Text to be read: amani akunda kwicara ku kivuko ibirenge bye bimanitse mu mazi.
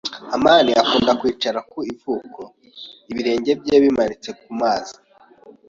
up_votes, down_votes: 2, 0